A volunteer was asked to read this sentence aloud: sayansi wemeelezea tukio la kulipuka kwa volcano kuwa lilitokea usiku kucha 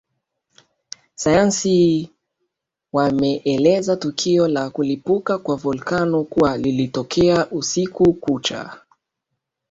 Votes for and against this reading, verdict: 2, 3, rejected